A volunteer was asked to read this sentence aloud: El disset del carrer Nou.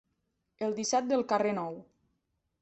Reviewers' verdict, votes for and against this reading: accepted, 2, 0